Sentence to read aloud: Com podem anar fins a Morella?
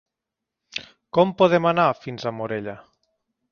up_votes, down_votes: 2, 0